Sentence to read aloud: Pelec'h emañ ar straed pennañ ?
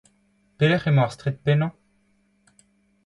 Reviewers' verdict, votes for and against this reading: accepted, 2, 0